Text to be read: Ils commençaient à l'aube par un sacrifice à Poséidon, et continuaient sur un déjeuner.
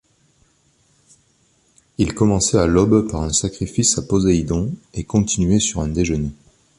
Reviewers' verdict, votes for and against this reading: accepted, 2, 1